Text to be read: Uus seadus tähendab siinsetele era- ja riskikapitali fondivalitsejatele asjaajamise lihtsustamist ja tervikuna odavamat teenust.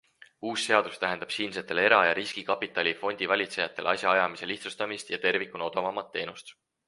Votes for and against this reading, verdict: 4, 2, accepted